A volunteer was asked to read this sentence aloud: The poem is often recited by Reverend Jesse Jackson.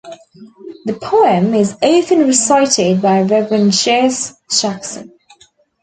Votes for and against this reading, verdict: 1, 2, rejected